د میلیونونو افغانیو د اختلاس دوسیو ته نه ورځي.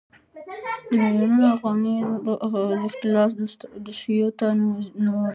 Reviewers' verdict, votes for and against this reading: rejected, 0, 2